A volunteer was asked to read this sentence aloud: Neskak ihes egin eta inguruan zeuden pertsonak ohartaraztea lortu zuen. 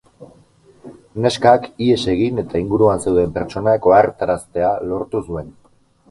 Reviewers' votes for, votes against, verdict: 4, 2, accepted